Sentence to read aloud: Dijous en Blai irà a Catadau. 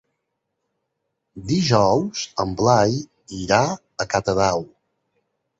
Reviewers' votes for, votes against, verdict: 3, 0, accepted